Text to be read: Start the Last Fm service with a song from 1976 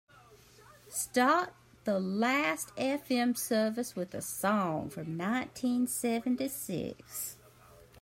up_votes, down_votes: 0, 2